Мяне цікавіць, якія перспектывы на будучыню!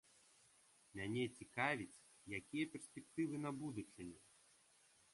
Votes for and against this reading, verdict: 2, 1, accepted